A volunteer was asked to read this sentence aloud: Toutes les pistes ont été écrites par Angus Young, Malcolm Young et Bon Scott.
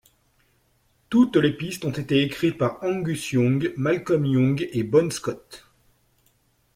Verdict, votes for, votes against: accepted, 2, 0